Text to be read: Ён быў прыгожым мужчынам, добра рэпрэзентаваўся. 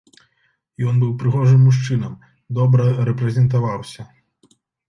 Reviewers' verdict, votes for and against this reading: accepted, 2, 0